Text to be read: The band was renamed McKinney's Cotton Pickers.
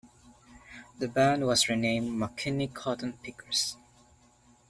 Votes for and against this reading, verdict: 1, 2, rejected